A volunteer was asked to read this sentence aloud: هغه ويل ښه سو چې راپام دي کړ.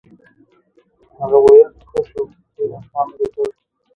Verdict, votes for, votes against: rejected, 0, 2